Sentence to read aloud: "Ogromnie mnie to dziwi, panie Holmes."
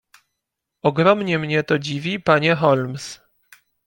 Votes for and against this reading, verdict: 2, 0, accepted